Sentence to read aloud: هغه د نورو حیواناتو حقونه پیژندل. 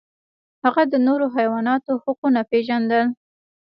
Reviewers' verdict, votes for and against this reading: rejected, 0, 2